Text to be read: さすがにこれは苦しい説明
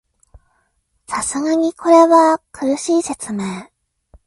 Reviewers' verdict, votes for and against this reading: accepted, 2, 0